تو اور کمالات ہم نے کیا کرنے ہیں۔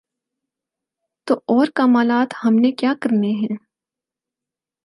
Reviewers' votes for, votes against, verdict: 8, 0, accepted